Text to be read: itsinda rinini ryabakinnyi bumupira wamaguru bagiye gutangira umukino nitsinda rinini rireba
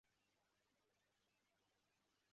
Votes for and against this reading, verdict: 0, 2, rejected